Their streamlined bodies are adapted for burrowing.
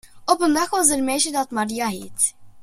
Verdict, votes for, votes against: rejected, 0, 2